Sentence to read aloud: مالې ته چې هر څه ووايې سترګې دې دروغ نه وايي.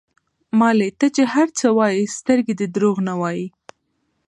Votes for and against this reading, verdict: 2, 0, accepted